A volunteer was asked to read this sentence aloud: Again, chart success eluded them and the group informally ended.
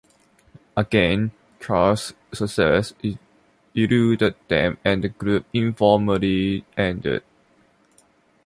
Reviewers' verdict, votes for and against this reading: rejected, 1, 2